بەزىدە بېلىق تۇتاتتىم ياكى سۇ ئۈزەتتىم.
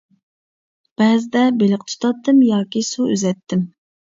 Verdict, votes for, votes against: accepted, 2, 0